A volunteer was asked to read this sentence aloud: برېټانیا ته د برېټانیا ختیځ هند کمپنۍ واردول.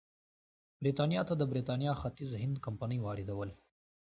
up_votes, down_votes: 2, 0